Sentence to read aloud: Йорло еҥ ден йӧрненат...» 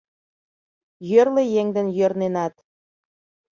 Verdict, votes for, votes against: rejected, 0, 2